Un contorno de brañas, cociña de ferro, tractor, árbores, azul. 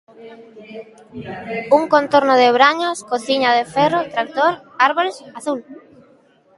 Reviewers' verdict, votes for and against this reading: accepted, 2, 0